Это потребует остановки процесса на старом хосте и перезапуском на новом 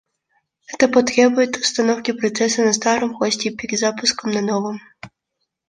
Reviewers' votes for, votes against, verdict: 0, 2, rejected